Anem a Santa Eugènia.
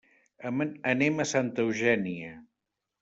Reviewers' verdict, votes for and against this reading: rejected, 1, 2